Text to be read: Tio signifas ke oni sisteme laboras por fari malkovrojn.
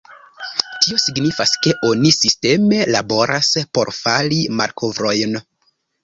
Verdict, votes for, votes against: rejected, 1, 2